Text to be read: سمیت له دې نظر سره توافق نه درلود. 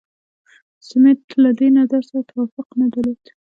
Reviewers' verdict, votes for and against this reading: accepted, 2, 0